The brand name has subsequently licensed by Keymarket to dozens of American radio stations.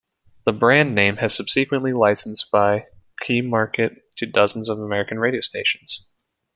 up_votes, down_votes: 2, 1